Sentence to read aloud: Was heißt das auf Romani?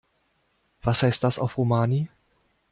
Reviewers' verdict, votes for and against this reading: accepted, 2, 0